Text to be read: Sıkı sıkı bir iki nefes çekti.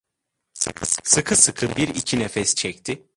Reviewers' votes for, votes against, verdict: 1, 2, rejected